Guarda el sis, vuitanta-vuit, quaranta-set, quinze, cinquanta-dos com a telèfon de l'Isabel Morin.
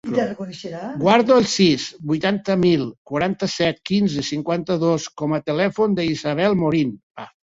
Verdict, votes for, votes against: rejected, 0, 2